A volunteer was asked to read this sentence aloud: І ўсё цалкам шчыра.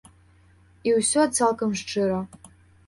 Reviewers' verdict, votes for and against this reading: accepted, 2, 0